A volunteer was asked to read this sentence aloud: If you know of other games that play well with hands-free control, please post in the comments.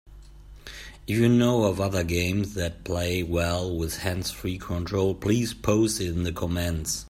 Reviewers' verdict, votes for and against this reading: accepted, 2, 0